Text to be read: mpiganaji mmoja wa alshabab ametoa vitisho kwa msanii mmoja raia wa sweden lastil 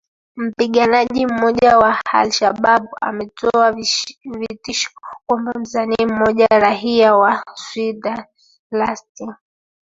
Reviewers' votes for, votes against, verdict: 0, 2, rejected